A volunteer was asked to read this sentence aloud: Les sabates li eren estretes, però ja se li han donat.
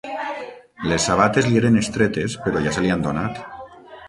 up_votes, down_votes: 0, 6